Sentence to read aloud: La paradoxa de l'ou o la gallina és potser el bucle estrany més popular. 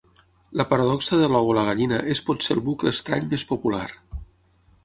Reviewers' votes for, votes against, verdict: 6, 0, accepted